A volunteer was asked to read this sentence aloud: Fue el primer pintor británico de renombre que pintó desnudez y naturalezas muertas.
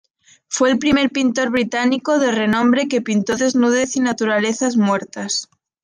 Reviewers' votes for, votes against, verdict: 2, 0, accepted